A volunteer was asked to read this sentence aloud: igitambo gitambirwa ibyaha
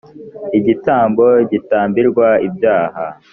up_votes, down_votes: 2, 0